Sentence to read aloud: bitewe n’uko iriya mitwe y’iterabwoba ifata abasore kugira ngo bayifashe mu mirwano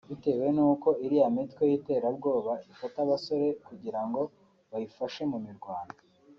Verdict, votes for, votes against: accepted, 3, 1